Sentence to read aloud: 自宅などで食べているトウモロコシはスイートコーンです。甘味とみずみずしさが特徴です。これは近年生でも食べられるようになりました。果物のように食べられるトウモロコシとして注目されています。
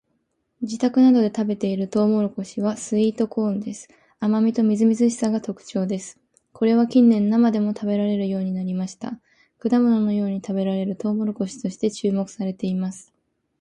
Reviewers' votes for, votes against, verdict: 2, 0, accepted